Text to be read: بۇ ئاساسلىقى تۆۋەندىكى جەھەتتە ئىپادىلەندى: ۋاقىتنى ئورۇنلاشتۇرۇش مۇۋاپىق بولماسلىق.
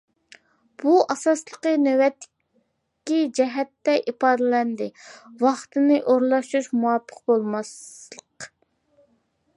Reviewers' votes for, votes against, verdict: 0, 2, rejected